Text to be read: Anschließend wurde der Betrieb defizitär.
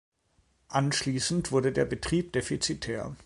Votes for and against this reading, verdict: 2, 0, accepted